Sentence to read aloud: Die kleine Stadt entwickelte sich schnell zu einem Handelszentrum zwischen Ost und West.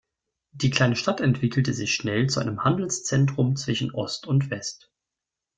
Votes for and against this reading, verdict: 2, 0, accepted